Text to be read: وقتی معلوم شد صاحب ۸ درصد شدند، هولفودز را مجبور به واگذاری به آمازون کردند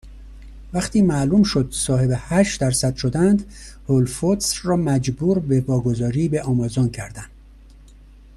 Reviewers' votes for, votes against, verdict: 0, 2, rejected